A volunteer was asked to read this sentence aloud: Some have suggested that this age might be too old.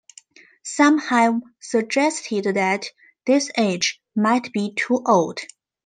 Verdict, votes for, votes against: accepted, 2, 0